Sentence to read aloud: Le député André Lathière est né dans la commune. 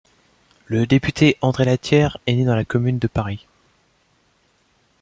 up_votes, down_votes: 1, 2